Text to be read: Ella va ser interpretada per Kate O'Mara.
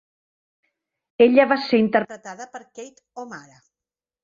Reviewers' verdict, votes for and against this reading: rejected, 1, 2